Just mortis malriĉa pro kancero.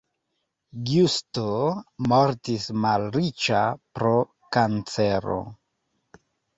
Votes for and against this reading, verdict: 0, 2, rejected